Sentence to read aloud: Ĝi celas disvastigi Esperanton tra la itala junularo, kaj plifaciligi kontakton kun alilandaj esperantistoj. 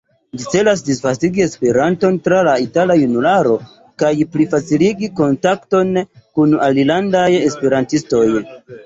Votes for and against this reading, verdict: 1, 2, rejected